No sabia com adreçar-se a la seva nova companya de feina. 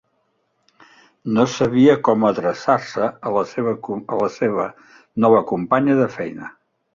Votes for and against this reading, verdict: 1, 2, rejected